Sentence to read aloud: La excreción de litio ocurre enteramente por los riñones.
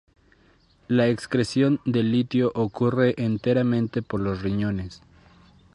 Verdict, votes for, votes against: rejected, 0, 2